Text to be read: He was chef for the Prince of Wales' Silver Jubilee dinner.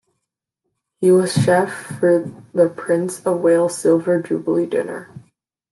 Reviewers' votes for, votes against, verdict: 2, 0, accepted